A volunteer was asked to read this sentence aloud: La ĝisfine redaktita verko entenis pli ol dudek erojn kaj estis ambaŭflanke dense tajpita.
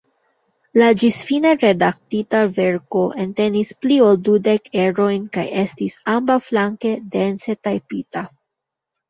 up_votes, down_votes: 0, 2